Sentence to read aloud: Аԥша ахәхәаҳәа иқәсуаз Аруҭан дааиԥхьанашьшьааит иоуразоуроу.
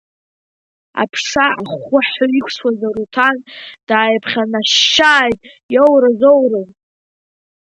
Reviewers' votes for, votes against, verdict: 2, 1, accepted